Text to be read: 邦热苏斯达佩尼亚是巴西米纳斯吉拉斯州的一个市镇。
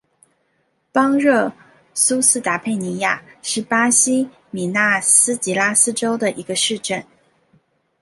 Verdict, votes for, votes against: accepted, 2, 0